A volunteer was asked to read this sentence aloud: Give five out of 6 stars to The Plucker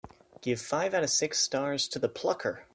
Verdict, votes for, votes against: rejected, 0, 2